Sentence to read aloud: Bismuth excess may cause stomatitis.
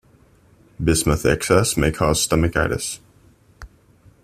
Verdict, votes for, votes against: rejected, 1, 2